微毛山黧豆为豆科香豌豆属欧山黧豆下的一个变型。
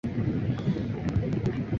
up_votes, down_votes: 0, 3